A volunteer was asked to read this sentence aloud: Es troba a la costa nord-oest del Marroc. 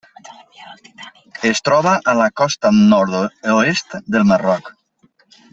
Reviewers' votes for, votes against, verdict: 0, 2, rejected